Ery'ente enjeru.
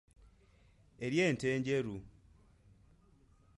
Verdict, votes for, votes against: accepted, 2, 0